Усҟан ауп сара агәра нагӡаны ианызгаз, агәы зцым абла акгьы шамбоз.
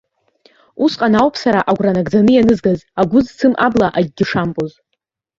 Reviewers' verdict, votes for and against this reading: accepted, 2, 1